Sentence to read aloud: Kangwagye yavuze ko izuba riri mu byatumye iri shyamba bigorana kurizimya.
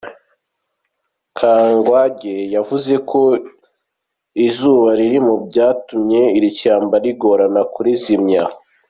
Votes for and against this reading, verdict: 2, 0, accepted